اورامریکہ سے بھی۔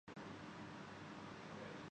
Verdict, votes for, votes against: rejected, 0, 2